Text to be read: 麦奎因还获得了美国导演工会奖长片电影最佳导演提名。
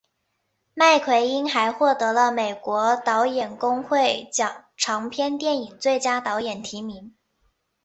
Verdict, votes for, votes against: accepted, 5, 0